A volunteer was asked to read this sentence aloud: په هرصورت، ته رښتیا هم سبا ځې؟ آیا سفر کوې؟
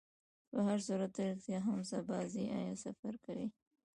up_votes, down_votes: 0, 2